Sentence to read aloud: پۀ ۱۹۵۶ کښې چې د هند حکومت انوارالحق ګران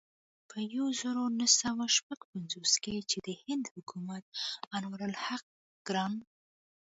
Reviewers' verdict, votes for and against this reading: rejected, 0, 2